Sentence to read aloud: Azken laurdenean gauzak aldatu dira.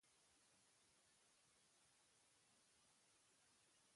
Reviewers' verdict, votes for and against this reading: rejected, 0, 2